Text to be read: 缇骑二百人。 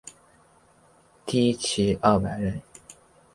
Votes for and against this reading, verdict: 7, 0, accepted